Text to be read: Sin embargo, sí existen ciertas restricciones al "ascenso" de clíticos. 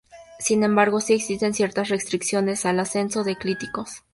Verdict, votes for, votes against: rejected, 0, 2